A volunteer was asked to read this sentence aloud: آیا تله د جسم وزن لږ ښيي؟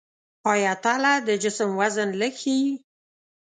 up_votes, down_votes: 2, 0